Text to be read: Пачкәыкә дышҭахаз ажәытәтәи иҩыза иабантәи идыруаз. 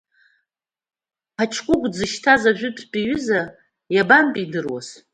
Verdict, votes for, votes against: rejected, 1, 2